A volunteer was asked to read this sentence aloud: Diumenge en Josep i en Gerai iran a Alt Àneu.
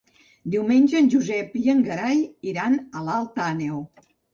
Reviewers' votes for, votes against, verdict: 1, 2, rejected